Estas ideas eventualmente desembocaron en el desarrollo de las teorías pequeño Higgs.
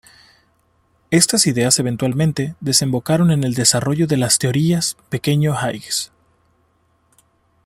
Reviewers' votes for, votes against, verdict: 1, 2, rejected